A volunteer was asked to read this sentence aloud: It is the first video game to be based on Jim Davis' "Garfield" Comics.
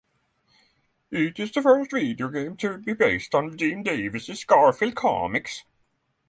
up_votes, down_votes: 6, 0